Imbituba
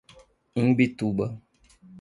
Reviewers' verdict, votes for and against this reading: accepted, 2, 1